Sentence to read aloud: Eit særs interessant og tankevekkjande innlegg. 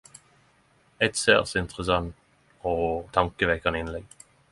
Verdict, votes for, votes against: accepted, 10, 0